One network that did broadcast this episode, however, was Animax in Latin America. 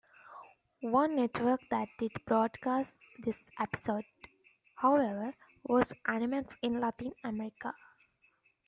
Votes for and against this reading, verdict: 2, 0, accepted